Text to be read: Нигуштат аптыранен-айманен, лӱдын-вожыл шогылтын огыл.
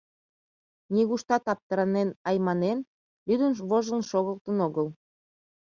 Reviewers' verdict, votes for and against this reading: rejected, 1, 2